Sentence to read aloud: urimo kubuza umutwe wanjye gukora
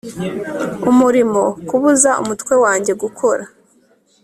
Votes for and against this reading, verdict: 1, 2, rejected